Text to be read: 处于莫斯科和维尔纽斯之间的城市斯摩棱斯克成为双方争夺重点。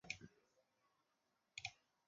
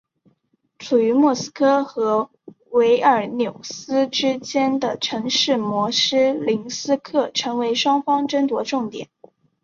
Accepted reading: second